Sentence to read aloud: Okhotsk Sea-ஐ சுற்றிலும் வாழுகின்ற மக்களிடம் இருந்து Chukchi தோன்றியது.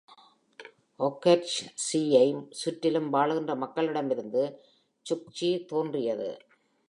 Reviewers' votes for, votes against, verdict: 2, 0, accepted